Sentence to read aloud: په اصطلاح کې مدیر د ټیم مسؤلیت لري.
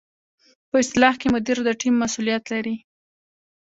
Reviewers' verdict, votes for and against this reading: accepted, 2, 1